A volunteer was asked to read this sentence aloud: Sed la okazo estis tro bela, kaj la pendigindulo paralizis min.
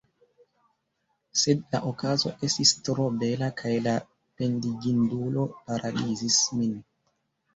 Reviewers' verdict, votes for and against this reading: accepted, 2, 1